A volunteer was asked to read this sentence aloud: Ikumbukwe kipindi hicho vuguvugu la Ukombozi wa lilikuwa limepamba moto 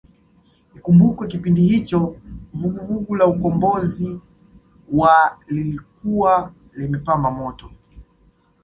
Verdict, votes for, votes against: accepted, 2, 1